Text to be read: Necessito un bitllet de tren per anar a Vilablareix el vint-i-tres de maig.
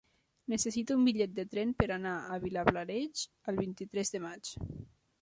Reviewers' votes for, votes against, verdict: 1, 2, rejected